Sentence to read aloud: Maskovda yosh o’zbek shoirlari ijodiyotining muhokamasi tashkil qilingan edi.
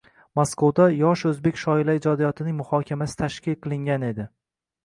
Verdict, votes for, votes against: accepted, 2, 0